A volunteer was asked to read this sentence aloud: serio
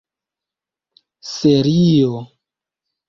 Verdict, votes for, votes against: accepted, 2, 1